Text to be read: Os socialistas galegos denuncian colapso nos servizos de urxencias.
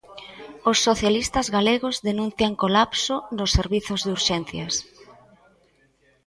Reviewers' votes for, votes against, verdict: 2, 0, accepted